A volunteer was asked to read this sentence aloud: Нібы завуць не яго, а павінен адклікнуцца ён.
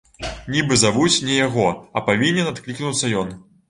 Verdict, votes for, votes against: accepted, 2, 0